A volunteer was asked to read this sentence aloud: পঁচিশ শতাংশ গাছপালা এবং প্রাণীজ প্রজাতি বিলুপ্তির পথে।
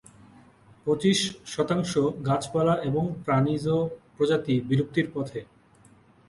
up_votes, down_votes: 2, 1